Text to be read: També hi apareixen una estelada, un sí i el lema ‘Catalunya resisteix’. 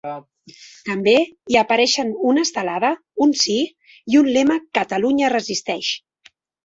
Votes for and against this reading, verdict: 0, 2, rejected